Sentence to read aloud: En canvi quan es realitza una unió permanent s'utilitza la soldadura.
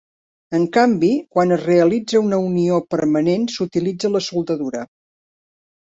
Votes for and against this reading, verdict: 3, 0, accepted